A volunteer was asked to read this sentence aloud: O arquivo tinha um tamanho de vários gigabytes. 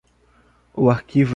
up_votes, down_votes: 0, 2